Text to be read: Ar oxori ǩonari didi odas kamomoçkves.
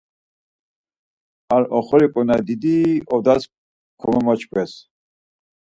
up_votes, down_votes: 4, 0